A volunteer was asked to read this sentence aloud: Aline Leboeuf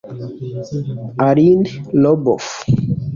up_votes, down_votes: 2, 3